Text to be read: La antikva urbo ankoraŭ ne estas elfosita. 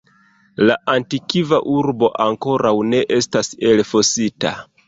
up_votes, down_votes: 1, 2